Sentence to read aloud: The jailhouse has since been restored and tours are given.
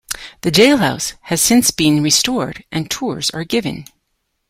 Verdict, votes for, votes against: accepted, 2, 0